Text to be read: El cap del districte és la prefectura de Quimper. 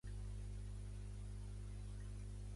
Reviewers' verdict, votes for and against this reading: rejected, 1, 2